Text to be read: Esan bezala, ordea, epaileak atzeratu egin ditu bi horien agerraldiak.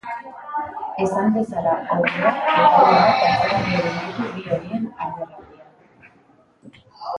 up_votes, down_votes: 1, 2